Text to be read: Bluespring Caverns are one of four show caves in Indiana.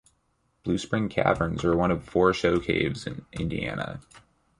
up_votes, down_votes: 2, 0